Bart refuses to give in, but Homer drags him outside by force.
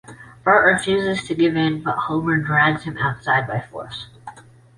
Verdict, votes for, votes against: accepted, 2, 1